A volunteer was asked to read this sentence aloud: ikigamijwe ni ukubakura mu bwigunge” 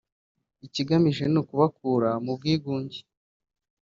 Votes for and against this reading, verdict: 2, 1, accepted